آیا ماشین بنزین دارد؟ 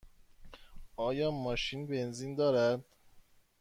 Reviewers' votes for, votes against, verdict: 2, 0, accepted